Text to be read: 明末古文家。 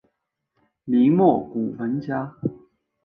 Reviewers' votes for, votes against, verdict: 4, 0, accepted